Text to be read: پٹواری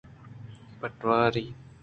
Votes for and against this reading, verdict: 2, 0, accepted